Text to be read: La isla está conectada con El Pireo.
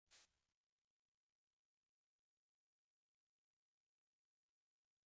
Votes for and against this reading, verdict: 0, 2, rejected